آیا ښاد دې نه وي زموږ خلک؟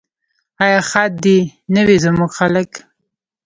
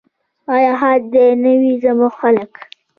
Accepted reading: first